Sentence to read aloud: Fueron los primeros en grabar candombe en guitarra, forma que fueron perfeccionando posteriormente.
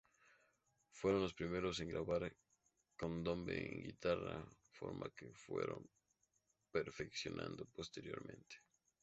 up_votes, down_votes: 2, 0